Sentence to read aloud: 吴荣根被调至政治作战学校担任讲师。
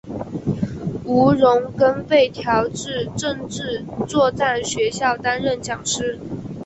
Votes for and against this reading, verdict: 3, 0, accepted